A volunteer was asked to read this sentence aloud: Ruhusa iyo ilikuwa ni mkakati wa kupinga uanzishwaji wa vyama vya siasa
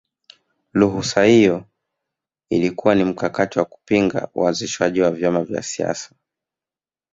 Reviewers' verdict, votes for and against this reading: rejected, 1, 2